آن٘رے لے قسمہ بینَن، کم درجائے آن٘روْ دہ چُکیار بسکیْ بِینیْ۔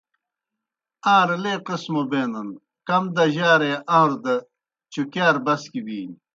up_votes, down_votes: 2, 0